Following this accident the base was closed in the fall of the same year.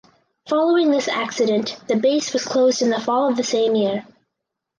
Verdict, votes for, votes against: accepted, 4, 0